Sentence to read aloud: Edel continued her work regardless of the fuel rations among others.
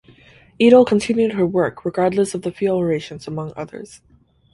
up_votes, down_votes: 4, 0